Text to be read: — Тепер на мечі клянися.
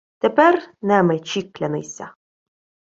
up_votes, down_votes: 1, 2